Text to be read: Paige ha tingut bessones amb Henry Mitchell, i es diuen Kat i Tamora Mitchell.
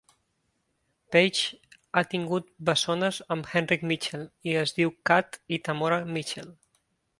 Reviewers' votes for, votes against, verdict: 0, 2, rejected